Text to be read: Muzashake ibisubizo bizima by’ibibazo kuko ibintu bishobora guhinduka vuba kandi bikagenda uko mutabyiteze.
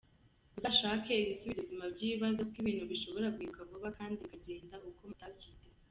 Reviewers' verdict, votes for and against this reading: rejected, 1, 2